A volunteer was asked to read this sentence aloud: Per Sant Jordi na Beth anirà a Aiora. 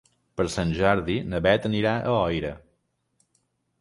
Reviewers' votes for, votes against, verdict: 2, 4, rejected